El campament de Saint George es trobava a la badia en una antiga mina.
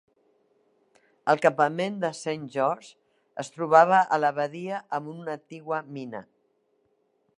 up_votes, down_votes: 0, 2